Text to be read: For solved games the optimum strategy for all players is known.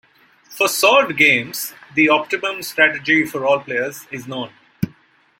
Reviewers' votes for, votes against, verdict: 0, 2, rejected